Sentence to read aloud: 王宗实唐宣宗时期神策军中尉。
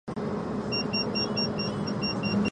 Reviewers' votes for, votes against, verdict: 0, 2, rejected